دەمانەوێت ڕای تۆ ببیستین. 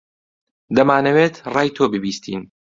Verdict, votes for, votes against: accepted, 2, 0